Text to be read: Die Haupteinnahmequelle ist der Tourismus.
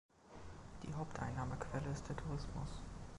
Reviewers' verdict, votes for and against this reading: accepted, 2, 0